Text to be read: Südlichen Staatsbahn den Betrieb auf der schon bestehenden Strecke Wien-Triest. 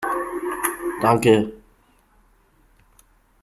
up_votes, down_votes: 0, 2